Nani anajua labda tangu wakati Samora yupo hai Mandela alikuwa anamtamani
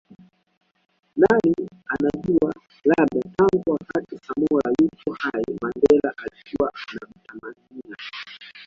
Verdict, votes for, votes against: rejected, 0, 2